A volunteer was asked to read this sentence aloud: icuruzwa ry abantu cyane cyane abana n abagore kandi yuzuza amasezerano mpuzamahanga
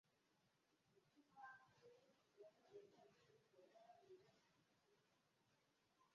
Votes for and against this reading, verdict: 0, 2, rejected